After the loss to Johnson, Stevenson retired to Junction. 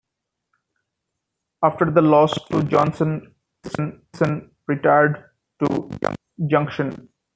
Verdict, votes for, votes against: rejected, 0, 2